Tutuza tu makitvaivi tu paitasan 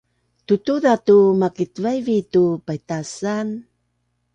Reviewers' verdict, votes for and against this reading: accepted, 2, 0